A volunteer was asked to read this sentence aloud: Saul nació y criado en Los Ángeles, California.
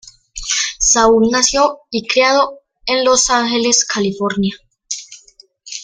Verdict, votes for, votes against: accepted, 2, 0